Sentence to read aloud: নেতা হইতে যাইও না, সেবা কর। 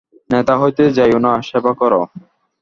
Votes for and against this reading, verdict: 2, 0, accepted